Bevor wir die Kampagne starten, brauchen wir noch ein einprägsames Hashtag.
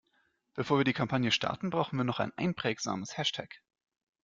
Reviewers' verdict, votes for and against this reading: accepted, 2, 0